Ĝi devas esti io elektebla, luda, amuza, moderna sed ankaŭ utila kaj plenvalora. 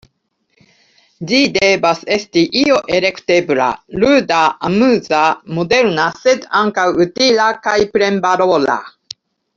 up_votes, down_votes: 0, 2